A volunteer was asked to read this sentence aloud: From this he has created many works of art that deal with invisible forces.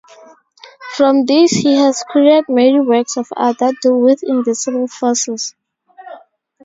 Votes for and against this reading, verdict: 0, 2, rejected